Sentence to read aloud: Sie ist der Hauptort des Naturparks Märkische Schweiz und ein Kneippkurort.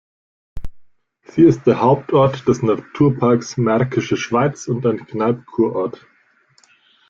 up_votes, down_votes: 2, 0